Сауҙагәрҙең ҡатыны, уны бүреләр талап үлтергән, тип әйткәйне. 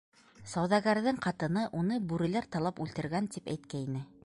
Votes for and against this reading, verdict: 2, 0, accepted